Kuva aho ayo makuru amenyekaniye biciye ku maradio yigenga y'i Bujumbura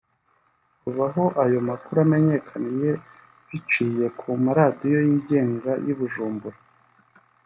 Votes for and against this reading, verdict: 0, 2, rejected